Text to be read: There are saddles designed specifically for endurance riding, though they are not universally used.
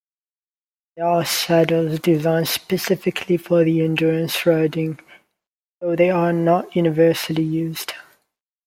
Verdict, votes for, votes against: rejected, 1, 2